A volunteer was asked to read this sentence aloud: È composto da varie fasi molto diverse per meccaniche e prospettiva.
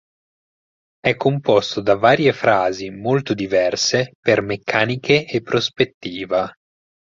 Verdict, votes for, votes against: rejected, 0, 4